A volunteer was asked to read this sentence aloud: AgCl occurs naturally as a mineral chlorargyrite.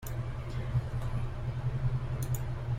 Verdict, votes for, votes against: rejected, 0, 2